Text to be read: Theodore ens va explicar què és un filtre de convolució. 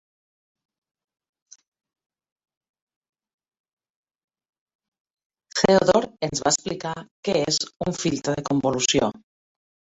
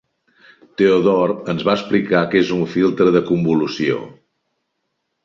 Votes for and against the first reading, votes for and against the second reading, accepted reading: 0, 2, 3, 0, second